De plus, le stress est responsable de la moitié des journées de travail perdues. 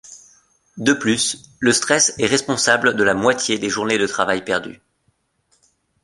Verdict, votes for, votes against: accepted, 2, 0